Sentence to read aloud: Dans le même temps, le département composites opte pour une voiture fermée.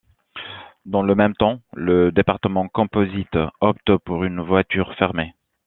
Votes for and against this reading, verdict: 2, 0, accepted